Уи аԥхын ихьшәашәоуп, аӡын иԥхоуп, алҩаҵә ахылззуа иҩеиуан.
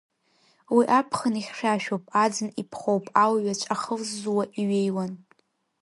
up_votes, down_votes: 1, 2